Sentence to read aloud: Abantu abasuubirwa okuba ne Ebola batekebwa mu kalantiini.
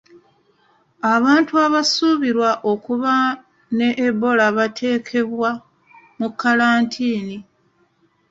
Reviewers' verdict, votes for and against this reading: rejected, 1, 2